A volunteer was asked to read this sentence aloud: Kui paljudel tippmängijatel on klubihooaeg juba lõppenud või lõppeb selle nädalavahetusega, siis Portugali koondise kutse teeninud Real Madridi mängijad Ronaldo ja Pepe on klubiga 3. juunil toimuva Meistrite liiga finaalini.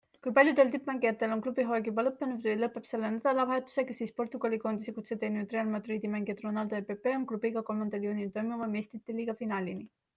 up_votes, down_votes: 0, 2